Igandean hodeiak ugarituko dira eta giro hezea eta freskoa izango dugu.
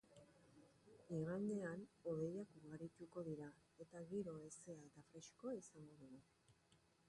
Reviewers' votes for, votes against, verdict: 2, 1, accepted